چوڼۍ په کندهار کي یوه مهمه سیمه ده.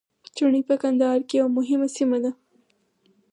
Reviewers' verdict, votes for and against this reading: rejected, 0, 4